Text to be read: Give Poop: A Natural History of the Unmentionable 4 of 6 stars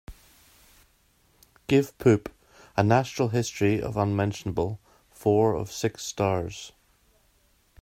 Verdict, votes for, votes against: rejected, 0, 2